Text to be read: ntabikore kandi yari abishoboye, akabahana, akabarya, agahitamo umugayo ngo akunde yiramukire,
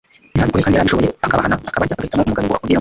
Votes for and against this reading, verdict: 1, 2, rejected